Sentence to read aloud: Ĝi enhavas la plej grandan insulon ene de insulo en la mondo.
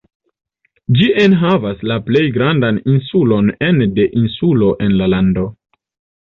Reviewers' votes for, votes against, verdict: 1, 2, rejected